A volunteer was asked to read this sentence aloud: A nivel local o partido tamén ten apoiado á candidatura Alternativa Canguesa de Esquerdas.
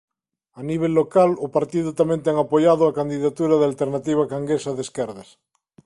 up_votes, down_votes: 0, 2